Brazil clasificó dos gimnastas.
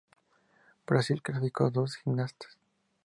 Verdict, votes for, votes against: accepted, 2, 0